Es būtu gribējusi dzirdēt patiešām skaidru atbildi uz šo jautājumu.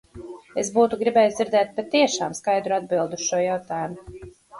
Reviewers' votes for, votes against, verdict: 2, 2, rejected